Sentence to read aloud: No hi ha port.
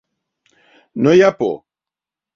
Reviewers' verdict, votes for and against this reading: rejected, 0, 3